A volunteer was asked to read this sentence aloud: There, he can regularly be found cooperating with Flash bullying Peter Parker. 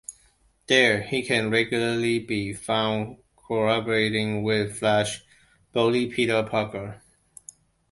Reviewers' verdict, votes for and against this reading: rejected, 1, 2